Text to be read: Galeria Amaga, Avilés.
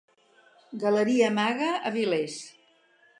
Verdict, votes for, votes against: accepted, 4, 0